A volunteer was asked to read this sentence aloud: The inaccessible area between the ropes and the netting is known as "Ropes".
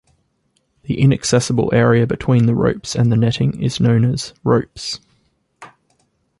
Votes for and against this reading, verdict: 2, 0, accepted